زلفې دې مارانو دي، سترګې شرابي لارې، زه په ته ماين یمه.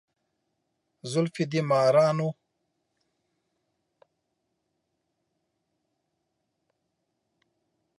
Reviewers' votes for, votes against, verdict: 0, 2, rejected